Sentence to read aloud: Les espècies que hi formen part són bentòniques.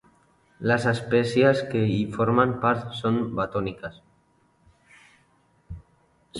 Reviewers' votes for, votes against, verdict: 2, 3, rejected